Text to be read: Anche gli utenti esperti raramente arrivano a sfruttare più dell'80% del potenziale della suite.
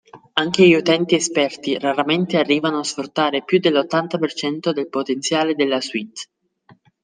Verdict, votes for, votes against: rejected, 0, 2